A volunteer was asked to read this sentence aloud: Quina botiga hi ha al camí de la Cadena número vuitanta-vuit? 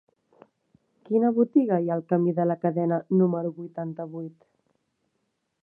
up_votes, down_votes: 4, 0